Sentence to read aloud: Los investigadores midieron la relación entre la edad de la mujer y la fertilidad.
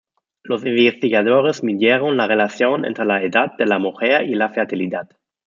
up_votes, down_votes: 2, 0